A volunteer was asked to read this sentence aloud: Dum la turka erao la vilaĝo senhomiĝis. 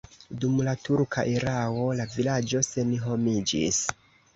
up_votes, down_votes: 2, 0